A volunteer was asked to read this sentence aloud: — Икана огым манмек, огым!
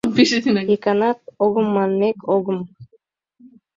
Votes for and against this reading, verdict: 1, 2, rejected